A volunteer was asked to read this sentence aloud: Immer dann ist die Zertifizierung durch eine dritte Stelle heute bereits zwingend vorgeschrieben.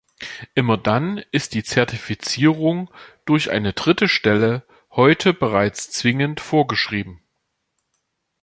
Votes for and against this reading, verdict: 2, 0, accepted